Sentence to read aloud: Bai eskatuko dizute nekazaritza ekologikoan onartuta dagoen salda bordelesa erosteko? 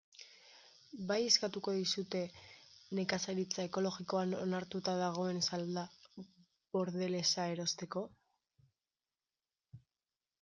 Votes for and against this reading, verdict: 2, 0, accepted